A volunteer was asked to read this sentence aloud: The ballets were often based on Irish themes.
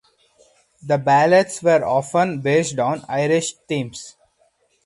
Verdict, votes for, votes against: rejected, 2, 2